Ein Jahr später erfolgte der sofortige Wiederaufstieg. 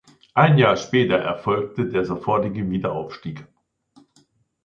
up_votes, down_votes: 2, 0